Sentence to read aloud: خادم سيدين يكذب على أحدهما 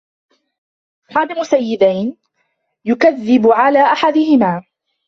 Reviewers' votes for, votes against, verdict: 0, 2, rejected